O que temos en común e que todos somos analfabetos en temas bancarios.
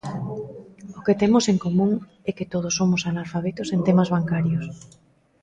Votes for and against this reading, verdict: 1, 2, rejected